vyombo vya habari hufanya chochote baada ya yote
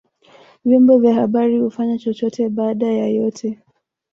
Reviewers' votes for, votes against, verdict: 1, 2, rejected